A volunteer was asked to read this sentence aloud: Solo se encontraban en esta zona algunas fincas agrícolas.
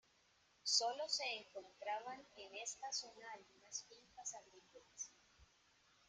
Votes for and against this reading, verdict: 0, 2, rejected